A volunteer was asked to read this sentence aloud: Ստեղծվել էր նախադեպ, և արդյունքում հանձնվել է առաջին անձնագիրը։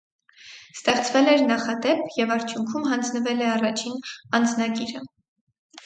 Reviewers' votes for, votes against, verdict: 4, 0, accepted